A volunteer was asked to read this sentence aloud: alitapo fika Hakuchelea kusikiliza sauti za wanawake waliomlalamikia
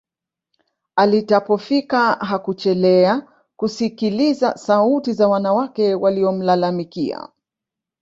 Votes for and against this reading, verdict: 1, 2, rejected